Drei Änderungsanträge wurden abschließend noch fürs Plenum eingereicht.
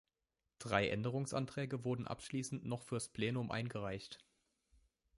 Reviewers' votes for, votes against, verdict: 3, 0, accepted